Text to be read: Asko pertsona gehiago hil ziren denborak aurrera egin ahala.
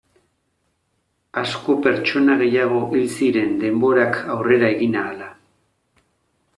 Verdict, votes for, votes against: rejected, 1, 2